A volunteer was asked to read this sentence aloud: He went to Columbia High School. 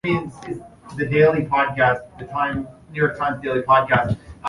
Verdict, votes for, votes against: rejected, 0, 3